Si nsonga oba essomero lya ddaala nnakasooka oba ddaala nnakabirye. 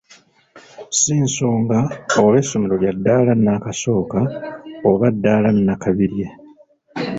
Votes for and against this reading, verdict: 3, 0, accepted